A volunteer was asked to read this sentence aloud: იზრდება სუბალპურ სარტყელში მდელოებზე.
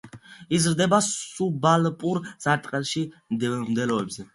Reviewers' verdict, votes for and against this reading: accepted, 2, 0